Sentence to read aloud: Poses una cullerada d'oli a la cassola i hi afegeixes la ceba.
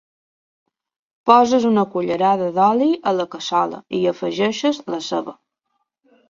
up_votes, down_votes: 1, 3